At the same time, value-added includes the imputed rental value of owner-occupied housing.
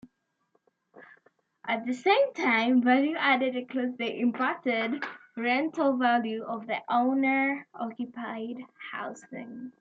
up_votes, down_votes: 0, 2